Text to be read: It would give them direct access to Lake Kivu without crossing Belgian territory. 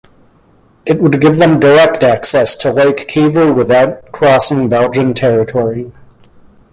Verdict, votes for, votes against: accepted, 2, 0